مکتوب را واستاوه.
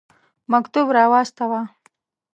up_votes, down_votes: 5, 0